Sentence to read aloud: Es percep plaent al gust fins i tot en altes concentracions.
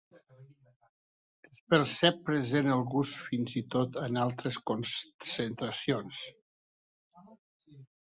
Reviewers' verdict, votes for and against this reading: rejected, 0, 2